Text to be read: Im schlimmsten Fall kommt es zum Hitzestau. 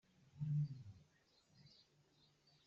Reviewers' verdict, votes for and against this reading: rejected, 0, 2